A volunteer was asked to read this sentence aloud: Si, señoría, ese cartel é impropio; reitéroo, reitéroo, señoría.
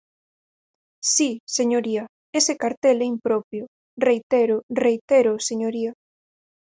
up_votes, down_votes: 4, 0